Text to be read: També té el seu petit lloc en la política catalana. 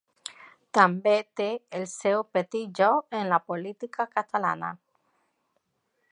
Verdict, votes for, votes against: accepted, 2, 0